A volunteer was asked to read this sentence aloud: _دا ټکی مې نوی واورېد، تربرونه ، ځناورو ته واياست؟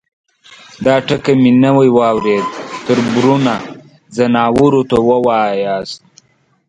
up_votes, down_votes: 1, 2